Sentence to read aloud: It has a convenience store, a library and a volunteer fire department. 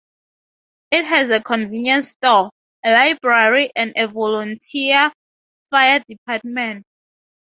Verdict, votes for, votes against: accepted, 2, 0